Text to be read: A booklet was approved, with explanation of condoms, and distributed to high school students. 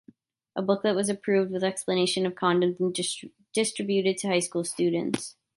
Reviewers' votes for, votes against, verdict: 0, 2, rejected